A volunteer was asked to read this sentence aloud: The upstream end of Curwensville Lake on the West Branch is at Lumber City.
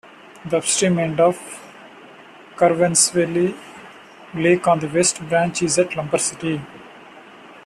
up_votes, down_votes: 0, 2